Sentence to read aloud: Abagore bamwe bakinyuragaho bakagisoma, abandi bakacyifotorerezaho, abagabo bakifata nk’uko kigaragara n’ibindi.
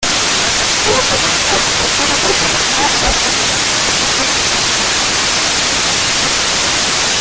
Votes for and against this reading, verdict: 0, 2, rejected